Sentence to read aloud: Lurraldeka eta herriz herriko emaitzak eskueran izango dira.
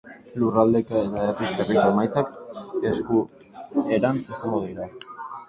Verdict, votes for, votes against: rejected, 0, 2